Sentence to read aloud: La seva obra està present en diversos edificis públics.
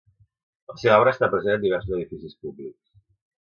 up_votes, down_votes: 0, 2